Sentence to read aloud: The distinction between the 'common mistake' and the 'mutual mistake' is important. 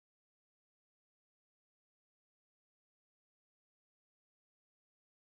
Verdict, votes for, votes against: rejected, 0, 2